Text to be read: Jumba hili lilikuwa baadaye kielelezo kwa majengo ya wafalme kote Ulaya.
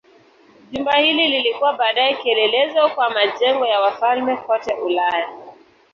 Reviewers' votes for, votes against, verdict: 2, 0, accepted